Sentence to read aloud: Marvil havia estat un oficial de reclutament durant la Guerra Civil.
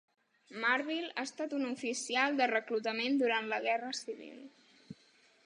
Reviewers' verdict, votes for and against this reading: rejected, 1, 2